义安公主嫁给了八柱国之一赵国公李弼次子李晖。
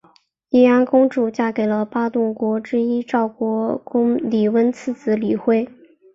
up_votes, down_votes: 0, 2